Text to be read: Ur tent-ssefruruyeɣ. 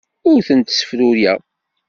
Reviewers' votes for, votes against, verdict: 1, 2, rejected